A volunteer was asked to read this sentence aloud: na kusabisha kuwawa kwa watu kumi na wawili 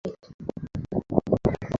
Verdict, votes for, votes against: rejected, 0, 2